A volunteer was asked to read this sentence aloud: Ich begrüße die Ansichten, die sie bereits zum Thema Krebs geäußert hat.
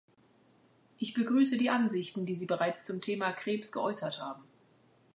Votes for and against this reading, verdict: 1, 2, rejected